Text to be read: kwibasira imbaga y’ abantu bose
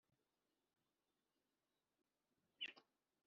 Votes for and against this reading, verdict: 1, 2, rejected